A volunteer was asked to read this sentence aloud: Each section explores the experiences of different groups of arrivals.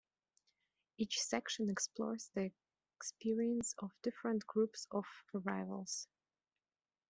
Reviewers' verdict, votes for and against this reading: rejected, 1, 2